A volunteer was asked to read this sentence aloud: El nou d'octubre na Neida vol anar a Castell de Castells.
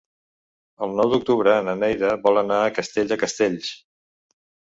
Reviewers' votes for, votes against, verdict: 3, 0, accepted